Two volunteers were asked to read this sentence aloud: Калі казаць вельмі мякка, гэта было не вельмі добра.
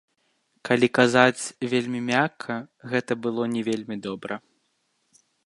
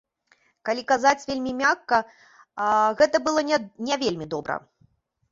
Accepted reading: first